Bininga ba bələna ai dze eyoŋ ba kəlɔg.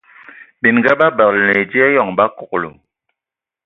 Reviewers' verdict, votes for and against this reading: rejected, 0, 2